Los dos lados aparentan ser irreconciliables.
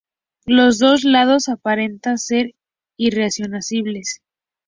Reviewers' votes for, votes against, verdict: 0, 2, rejected